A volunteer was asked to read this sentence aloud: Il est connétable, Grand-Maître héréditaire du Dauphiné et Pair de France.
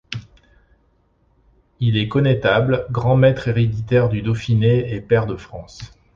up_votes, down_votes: 2, 0